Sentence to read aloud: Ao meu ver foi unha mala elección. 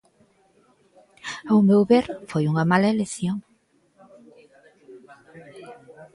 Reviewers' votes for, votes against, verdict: 1, 2, rejected